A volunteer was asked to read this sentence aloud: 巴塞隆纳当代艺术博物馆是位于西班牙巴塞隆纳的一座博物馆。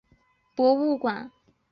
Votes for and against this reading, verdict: 0, 2, rejected